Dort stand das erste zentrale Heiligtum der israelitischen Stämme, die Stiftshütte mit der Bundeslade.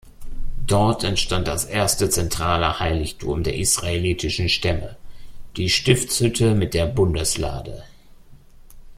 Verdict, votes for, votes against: rejected, 0, 2